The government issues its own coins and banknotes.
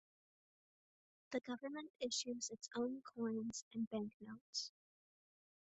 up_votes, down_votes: 1, 2